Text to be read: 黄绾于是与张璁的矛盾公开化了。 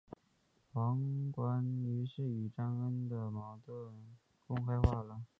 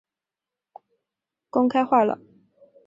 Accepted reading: first